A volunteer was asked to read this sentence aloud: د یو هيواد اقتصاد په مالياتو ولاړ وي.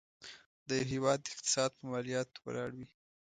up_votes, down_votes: 2, 0